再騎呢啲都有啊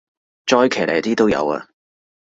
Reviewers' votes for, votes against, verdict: 2, 0, accepted